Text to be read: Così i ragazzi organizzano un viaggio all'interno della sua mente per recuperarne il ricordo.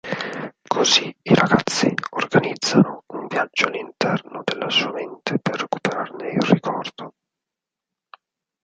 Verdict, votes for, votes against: rejected, 0, 4